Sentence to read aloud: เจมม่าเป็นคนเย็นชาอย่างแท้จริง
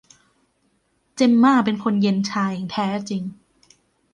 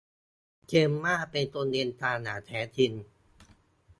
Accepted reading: first